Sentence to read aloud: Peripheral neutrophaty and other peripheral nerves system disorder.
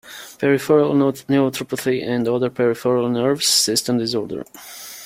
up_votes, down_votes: 1, 2